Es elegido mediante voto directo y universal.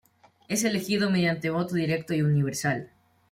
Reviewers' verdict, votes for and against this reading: rejected, 1, 2